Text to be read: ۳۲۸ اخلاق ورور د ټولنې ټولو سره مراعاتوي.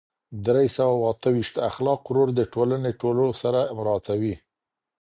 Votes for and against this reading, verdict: 0, 2, rejected